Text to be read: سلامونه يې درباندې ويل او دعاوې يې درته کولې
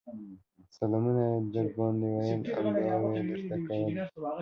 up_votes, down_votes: 2, 0